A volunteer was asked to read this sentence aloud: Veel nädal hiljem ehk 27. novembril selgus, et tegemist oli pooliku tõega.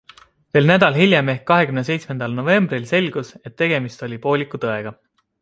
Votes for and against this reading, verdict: 0, 2, rejected